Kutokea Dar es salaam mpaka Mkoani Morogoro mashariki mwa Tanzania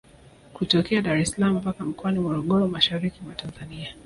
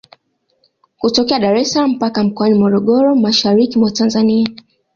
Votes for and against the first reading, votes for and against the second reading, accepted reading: 1, 2, 2, 1, second